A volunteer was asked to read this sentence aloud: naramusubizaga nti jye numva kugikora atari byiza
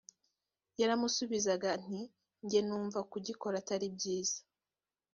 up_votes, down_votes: 0, 2